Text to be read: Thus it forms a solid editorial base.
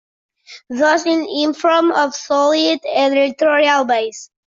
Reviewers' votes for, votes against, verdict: 0, 2, rejected